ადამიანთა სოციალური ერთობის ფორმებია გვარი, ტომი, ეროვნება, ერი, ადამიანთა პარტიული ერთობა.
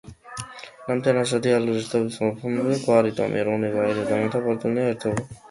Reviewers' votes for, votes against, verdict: 0, 2, rejected